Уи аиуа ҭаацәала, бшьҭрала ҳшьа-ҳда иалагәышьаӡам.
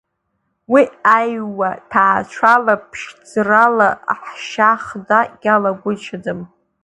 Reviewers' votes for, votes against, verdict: 0, 2, rejected